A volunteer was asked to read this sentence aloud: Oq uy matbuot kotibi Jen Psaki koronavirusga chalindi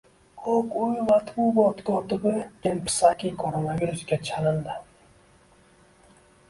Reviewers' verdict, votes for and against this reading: rejected, 0, 2